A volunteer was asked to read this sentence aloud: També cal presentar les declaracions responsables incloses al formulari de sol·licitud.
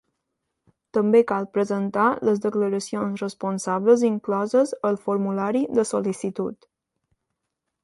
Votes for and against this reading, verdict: 2, 0, accepted